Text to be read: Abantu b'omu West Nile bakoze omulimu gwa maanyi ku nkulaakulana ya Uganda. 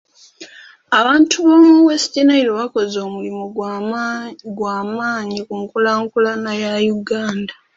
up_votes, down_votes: 2, 1